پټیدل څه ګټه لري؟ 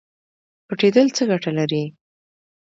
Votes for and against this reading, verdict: 2, 0, accepted